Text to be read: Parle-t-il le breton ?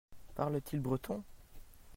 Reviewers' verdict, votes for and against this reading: rejected, 1, 2